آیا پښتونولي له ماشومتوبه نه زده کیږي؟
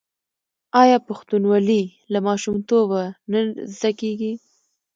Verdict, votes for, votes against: accepted, 2, 0